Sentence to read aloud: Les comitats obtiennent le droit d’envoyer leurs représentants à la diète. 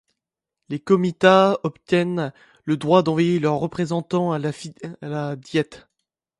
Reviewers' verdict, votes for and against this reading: rejected, 0, 2